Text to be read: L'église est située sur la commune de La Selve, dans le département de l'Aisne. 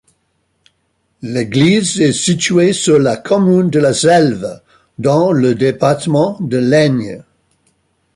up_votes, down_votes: 1, 2